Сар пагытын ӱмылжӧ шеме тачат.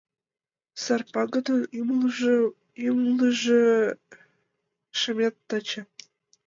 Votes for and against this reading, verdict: 0, 2, rejected